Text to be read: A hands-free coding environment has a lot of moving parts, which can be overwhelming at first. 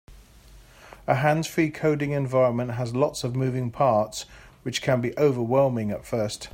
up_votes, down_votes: 2, 0